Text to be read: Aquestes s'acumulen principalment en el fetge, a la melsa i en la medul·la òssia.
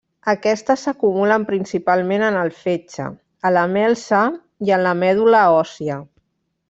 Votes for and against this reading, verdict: 0, 2, rejected